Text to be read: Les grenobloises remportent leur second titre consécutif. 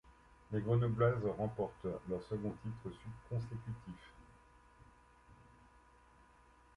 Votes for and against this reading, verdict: 0, 2, rejected